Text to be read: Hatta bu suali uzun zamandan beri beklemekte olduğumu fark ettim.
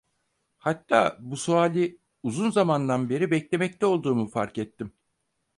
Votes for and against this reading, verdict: 4, 0, accepted